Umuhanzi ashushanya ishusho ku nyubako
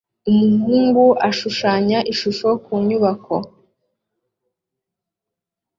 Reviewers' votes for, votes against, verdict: 0, 2, rejected